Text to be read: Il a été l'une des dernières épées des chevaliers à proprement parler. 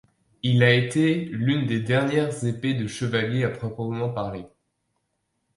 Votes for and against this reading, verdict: 1, 2, rejected